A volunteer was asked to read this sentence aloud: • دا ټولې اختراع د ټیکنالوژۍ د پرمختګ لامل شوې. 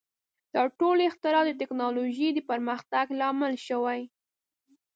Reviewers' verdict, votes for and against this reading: rejected, 1, 2